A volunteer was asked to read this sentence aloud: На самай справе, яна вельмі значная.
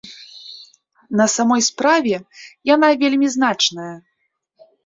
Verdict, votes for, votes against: rejected, 0, 2